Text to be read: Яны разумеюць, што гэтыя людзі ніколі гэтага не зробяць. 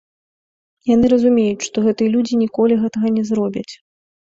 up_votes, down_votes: 1, 2